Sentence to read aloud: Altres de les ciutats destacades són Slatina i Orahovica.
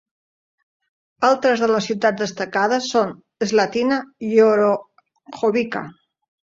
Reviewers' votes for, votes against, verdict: 2, 1, accepted